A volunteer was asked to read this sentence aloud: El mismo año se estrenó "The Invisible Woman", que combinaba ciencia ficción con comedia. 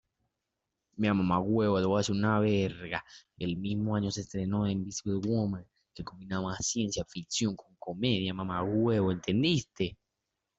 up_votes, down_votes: 0, 2